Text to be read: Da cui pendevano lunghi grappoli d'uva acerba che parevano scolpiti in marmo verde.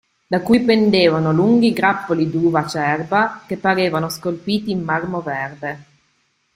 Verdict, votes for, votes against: accepted, 2, 0